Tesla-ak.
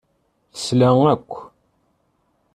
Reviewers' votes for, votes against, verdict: 0, 2, rejected